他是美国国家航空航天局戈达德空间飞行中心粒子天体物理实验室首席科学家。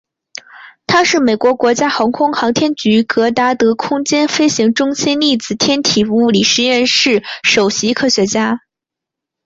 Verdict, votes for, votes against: rejected, 0, 2